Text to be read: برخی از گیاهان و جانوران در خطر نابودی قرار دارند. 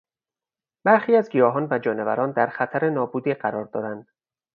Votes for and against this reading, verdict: 4, 0, accepted